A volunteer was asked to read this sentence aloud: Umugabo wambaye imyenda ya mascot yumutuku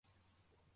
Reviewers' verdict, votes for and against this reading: rejected, 0, 2